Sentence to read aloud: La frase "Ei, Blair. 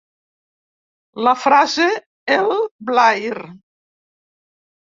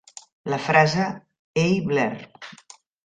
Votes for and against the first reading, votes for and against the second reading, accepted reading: 0, 2, 2, 0, second